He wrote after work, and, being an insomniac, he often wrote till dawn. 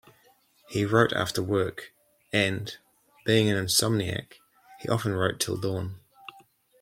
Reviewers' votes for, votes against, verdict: 2, 1, accepted